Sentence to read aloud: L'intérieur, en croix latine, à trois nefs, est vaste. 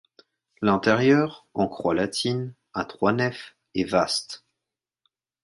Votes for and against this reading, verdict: 2, 0, accepted